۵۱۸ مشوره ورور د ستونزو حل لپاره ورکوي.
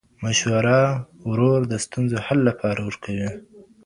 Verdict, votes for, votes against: rejected, 0, 2